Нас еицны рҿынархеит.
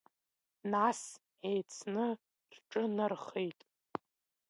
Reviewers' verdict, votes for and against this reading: accepted, 2, 0